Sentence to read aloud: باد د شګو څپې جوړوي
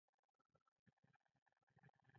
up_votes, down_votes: 1, 2